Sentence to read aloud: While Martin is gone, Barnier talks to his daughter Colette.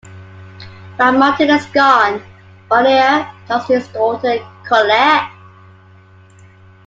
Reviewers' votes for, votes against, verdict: 2, 1, accepted